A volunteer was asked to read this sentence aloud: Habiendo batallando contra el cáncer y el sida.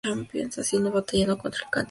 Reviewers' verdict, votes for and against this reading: rejected, 0, 2